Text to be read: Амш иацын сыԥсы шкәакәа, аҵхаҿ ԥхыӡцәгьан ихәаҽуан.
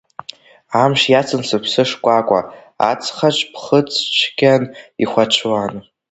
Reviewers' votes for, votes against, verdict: 1, 2, rejected